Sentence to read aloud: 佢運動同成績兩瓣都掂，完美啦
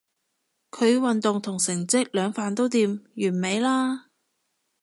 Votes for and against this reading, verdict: 2, 0, accepted